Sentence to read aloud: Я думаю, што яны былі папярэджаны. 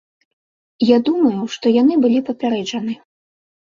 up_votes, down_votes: 2, 0